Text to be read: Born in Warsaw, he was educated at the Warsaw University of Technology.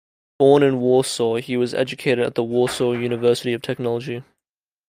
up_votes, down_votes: 2, 0